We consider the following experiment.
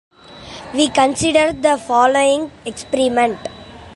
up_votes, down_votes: 0, 2